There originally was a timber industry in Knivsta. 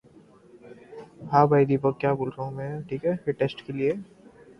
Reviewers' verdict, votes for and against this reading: rejected, 0, 2